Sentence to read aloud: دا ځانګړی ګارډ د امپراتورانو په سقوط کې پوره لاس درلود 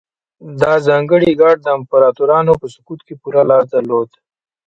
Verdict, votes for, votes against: rejected, 0, 2